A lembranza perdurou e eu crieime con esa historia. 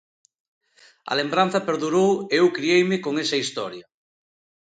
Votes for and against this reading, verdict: 2, 0, accepted